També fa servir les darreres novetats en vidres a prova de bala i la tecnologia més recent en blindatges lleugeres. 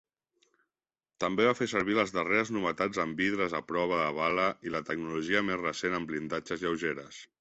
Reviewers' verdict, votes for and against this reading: rejected, 1, 2